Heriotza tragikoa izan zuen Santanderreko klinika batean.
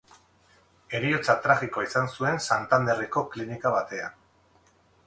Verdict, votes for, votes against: rejected, 0, 2